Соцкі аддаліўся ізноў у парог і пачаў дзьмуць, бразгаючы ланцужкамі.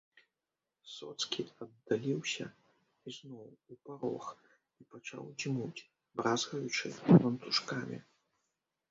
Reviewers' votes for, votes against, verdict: 1, 2, rejected